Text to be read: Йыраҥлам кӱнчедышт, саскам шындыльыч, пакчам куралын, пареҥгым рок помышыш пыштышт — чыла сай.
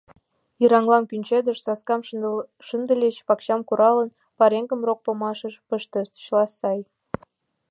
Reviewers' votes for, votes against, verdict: 0, 2, rejected